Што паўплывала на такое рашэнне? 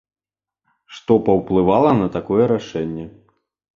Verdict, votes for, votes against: accepted, 2, 0